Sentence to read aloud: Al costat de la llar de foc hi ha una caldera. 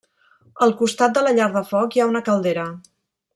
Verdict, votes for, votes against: rejected, 0, 2